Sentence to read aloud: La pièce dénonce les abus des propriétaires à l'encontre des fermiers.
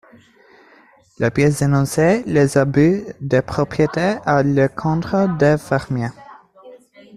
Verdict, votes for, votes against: rejected, 0, 2